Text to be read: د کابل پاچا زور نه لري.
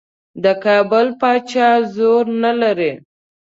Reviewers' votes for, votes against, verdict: 2, 0, accepted